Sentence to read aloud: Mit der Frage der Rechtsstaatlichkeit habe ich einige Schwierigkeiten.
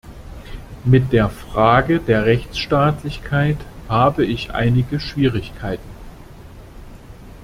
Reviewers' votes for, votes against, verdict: 2, 0, accepted